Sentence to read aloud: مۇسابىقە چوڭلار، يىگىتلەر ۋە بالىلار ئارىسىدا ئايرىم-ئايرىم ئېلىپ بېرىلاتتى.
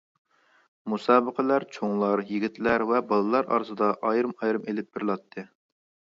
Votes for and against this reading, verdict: 0, 2, rejected